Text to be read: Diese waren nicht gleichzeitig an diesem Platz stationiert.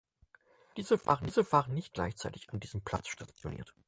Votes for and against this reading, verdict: 0, 6, rejected